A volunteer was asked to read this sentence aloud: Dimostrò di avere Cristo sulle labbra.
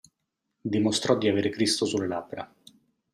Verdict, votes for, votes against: accepted, 2, 0